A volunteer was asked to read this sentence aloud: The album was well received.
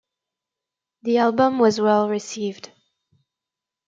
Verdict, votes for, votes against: accepted, 2, 0